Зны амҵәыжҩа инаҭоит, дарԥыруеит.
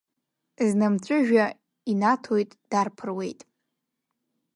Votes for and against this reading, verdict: 2, 1, accepted